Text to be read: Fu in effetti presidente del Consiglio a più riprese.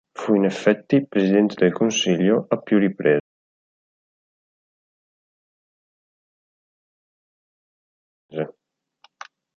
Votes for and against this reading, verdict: 0, 2, rejected